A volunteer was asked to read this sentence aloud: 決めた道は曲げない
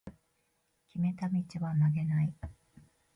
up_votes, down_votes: 0, 2